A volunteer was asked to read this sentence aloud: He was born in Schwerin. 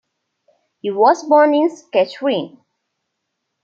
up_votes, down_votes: 0, 2